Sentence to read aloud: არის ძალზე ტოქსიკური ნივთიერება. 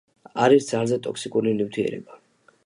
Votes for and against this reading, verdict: 2, 0, accepted